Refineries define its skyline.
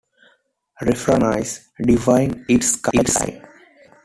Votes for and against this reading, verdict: 0, 2, rejected